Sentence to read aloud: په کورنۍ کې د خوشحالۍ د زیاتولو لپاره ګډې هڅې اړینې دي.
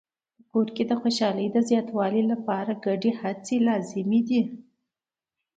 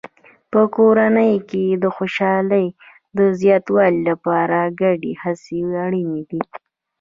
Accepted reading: first